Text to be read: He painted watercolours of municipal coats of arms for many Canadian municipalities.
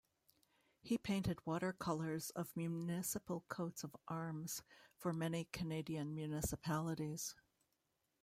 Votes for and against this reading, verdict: 1, 2, rejected